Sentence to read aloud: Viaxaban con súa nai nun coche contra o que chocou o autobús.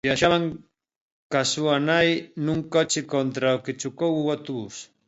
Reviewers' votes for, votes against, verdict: 1, 2, rejected